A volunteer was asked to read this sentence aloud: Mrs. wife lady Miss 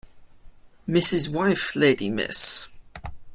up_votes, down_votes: 2, 0